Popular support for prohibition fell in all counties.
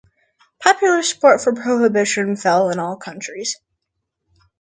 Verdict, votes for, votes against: rejected, 0, 2